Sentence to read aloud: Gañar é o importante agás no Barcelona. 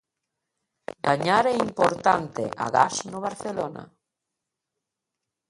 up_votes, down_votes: 1, 2